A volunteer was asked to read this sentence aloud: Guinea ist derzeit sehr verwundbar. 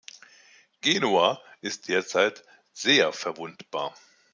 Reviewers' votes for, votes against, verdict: 1, 2, rejected